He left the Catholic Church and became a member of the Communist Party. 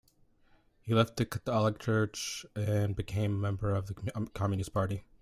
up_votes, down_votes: 0, 2